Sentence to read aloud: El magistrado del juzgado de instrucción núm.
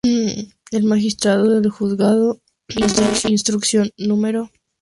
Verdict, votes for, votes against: rejected, 0, 2